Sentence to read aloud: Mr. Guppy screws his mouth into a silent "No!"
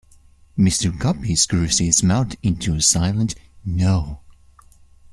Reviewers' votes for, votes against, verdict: 2, 0, accepted